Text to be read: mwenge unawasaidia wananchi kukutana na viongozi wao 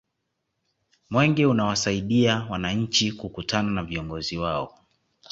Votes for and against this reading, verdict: 2, 0, accepted